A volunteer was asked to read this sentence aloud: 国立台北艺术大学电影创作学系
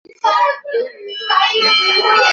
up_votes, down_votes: 1, 3